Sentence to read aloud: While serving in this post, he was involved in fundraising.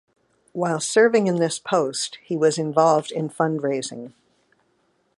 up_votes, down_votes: 2, 0